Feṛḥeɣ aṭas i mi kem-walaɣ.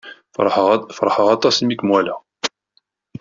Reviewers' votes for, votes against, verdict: 1, 2, rejected